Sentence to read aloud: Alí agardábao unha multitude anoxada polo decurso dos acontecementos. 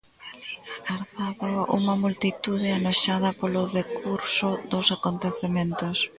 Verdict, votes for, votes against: rejected, 0, 2